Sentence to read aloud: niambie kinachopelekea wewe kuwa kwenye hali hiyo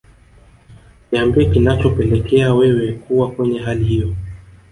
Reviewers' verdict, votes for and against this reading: accepted, 2, 0